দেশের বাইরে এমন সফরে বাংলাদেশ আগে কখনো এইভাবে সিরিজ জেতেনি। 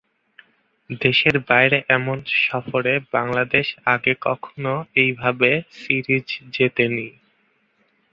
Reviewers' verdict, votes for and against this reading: rejected, 1, 2